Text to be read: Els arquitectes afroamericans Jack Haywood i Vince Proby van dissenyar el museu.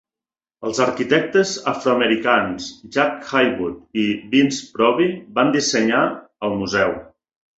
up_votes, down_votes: 3, 0